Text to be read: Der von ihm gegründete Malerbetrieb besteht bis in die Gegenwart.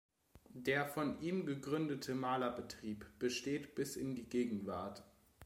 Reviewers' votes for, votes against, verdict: 2, 0, accepted